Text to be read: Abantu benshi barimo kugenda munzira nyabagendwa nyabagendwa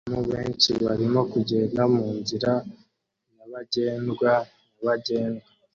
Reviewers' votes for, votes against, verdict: 1, 2, rejected